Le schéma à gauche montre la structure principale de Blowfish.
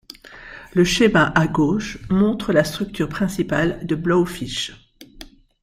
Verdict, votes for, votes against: accepted, 2, 0